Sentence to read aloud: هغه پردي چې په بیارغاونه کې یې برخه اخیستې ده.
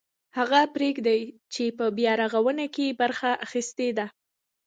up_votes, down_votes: 0, 2